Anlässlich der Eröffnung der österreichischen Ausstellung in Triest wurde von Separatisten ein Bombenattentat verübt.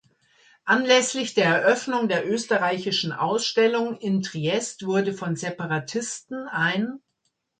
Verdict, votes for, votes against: rejected, 0, 2